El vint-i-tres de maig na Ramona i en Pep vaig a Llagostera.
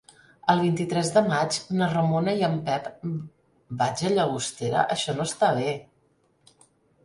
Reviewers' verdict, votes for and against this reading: rejected, 0, 2